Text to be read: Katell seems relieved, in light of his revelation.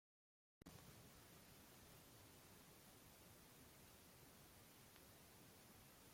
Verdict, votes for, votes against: rejected, 0, 2